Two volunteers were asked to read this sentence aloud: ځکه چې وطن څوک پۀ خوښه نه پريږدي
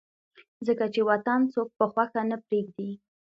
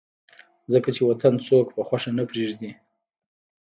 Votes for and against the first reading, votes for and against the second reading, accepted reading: 2, 0, 1, 2, first